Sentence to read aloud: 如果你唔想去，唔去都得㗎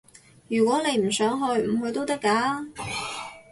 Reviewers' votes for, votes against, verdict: 4, 0, accepted